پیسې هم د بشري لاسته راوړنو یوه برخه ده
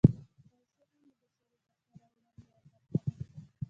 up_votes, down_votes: 1, 2